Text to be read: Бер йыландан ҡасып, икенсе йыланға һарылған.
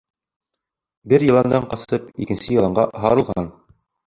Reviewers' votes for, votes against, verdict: 0, 2, rejected